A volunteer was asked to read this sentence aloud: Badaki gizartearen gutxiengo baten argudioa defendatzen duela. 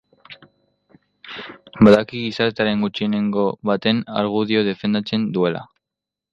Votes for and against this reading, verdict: 0, 2, rejected